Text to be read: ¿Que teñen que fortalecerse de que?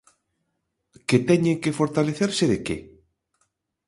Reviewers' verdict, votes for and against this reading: accepted, 2, 0